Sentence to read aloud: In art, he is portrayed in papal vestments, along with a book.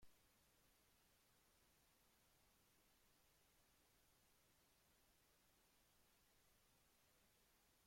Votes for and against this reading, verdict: 0, 3, rejected